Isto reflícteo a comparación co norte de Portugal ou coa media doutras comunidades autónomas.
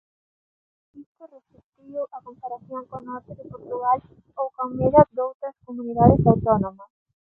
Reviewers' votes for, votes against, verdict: 0, 2, rejected